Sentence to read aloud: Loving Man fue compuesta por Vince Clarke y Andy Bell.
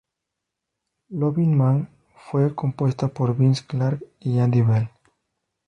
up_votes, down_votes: 2, 0